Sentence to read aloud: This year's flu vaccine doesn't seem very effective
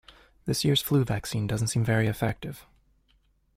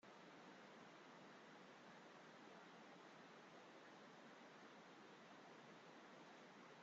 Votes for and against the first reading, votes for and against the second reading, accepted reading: 2, 0, 0, 2, first